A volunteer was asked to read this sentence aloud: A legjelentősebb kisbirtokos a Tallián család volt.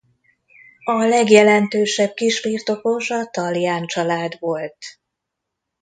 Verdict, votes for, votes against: accepted, 2, 0